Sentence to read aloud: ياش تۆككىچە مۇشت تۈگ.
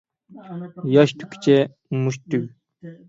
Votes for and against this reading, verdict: 0, 6, rejected